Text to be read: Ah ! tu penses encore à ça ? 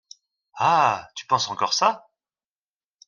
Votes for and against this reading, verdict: 0, 2, rejected